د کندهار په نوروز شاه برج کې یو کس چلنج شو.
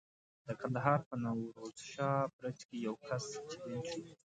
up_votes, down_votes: 2, 0